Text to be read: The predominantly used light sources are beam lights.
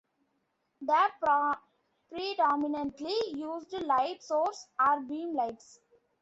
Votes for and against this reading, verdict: 0, 2, rejected